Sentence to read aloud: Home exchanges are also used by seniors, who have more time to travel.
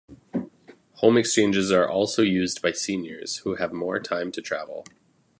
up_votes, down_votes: 2, 0